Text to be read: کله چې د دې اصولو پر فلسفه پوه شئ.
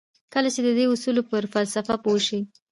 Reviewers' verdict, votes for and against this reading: rejected, 1, 2